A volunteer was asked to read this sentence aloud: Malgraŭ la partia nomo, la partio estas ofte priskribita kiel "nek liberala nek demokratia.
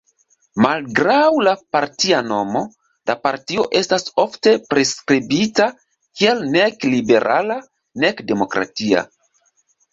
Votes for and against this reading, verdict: 0, 2, rejected